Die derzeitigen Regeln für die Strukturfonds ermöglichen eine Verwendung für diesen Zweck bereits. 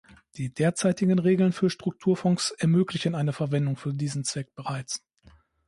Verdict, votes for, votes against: rejected, 0, 2